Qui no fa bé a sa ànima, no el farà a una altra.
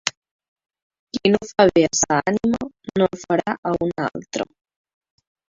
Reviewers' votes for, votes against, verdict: 2, 1, accepted